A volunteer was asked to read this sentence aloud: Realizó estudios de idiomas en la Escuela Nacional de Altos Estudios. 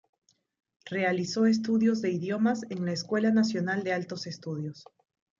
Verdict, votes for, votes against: rejected, 1, 2